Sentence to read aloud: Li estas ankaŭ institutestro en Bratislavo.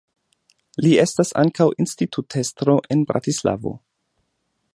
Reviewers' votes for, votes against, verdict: 2, 0, accepted